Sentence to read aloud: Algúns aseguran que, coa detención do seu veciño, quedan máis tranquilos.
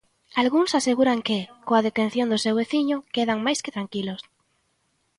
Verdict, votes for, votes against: accepted, 3, 2